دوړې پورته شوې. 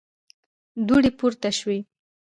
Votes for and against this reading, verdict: 0, 2, rejected